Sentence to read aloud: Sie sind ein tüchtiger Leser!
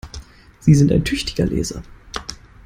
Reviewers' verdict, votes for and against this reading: accepted, 2, 0